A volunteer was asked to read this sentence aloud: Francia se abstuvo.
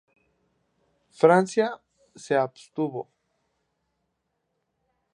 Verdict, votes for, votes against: accepted, 2, 0